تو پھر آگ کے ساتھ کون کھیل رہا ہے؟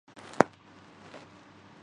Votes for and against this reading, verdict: 0, 2, rejected